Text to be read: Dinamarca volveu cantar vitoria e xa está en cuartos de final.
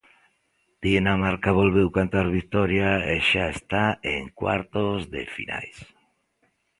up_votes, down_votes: 2, 1